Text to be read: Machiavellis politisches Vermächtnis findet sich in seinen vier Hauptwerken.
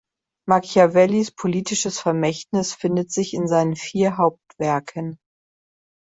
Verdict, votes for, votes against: accepted, 2, 0